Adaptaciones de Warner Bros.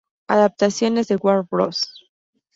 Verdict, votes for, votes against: accepted, 2, 0